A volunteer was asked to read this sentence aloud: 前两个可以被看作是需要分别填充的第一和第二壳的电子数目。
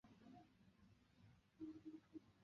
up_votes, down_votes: 0, 4